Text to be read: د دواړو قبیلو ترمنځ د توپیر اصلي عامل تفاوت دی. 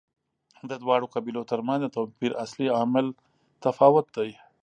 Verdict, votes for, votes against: accepted, 2, 0